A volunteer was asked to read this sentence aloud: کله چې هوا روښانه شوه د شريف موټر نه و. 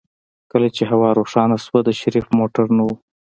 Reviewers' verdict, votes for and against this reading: accepted, 2, 1